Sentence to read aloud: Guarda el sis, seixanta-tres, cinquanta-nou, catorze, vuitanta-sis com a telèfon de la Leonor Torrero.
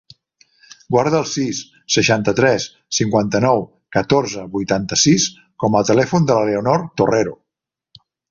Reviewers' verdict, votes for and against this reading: accepted, 3, 0